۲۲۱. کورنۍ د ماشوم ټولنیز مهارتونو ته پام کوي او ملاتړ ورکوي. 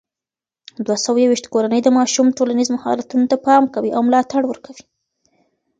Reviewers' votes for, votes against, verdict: 0, 2, rejected